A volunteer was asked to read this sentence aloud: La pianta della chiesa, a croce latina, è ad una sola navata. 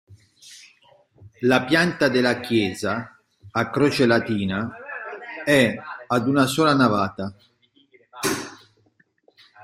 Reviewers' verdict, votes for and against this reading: accepted, 2, 0